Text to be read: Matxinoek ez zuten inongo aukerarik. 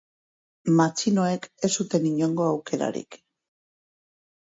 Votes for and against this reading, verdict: 6, 0, accepted